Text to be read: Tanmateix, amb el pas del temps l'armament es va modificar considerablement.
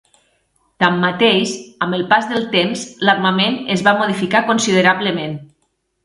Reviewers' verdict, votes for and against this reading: accepted, 3, 0